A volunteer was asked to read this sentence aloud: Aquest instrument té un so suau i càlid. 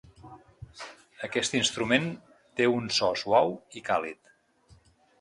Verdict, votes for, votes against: accepted, 2, 0